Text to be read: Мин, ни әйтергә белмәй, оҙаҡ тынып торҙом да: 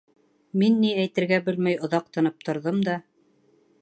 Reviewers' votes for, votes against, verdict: 1, 2, rejected